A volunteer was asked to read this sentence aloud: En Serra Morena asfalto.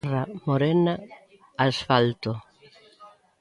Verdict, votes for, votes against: rejected, 1, 2